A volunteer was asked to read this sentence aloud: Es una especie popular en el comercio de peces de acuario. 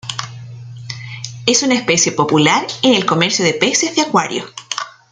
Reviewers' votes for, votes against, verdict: 2, 0, accepted